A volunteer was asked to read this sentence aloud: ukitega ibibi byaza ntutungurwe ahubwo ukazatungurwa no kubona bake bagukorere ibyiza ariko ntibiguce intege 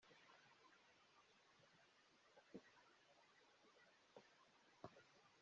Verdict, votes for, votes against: rejected, 0, 2